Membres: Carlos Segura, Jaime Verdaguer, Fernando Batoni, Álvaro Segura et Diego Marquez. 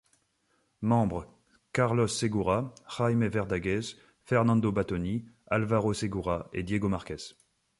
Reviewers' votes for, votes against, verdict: 0, 2, rejected